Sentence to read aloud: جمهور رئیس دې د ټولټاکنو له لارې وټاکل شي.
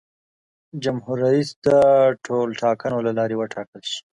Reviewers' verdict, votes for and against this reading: accepted, 2, 1